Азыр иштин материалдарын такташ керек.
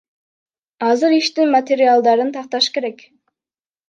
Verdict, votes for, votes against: rejected, 1, 2